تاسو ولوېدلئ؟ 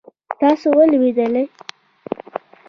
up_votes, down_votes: 2, 1